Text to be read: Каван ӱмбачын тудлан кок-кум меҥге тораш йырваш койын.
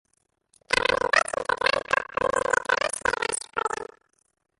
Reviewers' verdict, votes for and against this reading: rejected, 0, 2